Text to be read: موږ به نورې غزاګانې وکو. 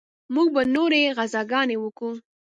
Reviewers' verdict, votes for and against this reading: accepted, 3, 0